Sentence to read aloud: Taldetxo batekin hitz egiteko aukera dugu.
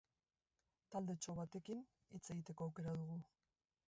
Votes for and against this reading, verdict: 3, 2, accepted